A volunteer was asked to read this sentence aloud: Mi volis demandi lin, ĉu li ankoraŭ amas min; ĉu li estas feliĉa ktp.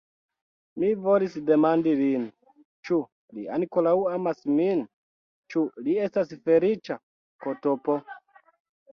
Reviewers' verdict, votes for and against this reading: accepted, 2, 1